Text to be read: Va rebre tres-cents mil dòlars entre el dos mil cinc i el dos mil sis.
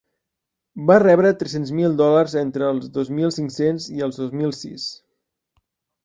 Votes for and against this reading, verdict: 1, 2, rejected